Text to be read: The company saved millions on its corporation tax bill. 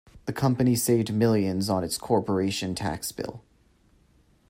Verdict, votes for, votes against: accepted, 2, 0